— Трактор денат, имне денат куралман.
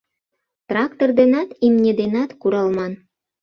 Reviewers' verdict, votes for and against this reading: accepted, 2, 0